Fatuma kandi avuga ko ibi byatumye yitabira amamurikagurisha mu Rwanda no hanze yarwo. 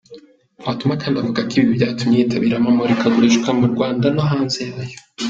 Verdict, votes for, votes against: rejected, 0, 2